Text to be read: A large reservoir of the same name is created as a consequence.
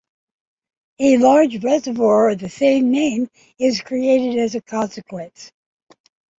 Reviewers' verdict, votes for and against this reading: accepted, 2, 0